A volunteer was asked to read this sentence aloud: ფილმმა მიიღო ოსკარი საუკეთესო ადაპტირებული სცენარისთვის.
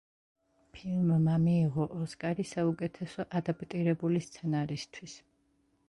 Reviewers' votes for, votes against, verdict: 1, 2, rejected